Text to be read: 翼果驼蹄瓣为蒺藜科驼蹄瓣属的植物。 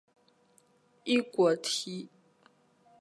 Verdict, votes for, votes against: rejected, 0, 3